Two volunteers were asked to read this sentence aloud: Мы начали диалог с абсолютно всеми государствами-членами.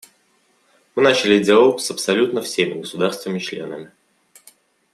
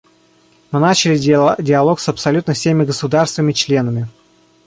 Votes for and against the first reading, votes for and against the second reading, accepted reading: 2, 0, 0, 2, first